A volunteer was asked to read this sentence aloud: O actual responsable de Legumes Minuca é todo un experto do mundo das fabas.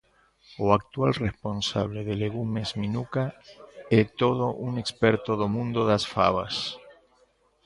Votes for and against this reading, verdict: 1, 2, rejected